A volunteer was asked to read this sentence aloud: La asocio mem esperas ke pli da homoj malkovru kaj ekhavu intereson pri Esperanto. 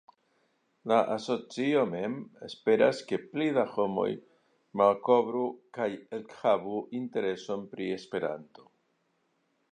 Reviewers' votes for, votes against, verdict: 2, 0, accepted